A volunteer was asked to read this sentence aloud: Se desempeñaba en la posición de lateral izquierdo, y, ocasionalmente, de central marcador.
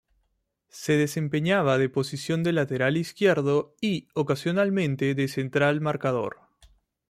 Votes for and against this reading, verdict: 2, 0, accepted